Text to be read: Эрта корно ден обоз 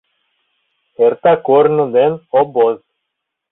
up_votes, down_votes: 2, 0